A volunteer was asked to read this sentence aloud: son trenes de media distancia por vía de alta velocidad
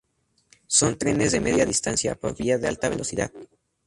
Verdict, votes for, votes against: accepted, 2, 0